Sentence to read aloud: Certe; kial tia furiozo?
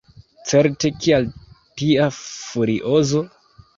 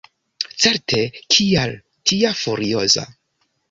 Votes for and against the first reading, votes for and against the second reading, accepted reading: 2, 1, 0, 2, first